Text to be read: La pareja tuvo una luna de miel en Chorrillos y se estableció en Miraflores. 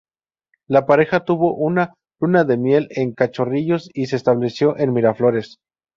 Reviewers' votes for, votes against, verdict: 0, 2, rejected